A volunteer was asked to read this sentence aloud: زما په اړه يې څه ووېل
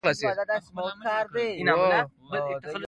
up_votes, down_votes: 0, 2